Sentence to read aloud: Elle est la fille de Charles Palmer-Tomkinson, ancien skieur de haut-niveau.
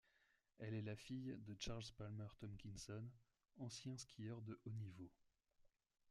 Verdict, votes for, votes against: accepted, 2, 0